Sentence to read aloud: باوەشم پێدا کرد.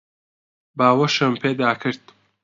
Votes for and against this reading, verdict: 2, 0, accepted